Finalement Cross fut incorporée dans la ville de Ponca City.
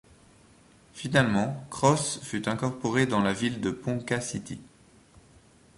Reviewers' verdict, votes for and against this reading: accepted, 2, 0